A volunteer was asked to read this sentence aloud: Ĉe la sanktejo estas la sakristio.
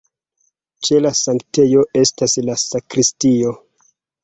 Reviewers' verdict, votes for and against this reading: accepted, 3, 1